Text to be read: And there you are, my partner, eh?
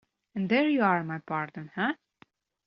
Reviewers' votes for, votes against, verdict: 2, 0, accepted